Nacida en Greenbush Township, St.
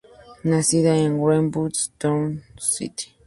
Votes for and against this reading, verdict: 0, 2, rejected